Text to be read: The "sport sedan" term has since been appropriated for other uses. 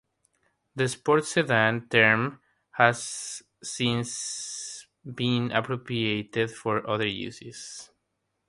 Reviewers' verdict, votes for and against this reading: rejected, 0, 3